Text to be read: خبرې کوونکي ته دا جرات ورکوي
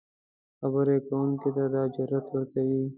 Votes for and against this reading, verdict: 2, 0, accepted